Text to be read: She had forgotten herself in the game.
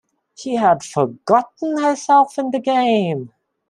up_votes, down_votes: 2, 0